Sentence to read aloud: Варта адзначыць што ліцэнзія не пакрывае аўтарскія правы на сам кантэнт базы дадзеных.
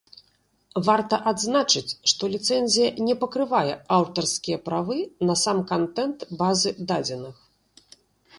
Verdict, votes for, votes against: accepted, 2, 0